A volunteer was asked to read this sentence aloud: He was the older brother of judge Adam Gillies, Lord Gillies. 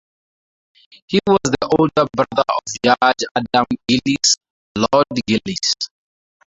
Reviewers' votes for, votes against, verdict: 2, 2, rejected